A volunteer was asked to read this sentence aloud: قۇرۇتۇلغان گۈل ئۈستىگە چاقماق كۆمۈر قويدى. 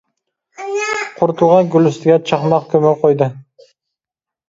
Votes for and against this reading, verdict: 1, 2, rejected